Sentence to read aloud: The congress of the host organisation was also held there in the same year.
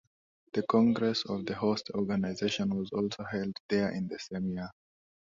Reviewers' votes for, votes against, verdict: 2, 0, accepted